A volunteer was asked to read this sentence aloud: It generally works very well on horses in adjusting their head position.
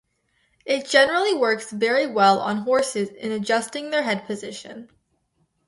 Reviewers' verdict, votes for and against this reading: accepted, 2, 0